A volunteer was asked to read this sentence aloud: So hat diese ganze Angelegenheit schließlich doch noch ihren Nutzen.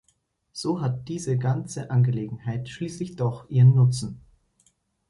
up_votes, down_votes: 1, 2